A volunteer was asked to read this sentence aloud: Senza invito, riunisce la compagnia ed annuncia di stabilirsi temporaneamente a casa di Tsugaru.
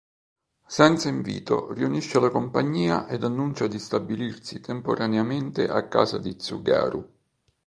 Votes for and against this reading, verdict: 3, 0, accepted